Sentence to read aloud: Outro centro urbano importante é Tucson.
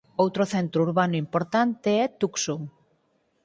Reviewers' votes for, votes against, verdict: 4, 2, accepted